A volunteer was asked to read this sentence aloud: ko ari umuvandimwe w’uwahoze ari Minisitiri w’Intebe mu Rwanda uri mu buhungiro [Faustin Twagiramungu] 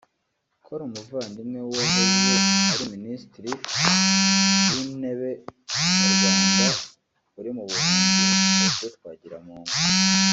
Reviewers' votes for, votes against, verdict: 0, 2, rejected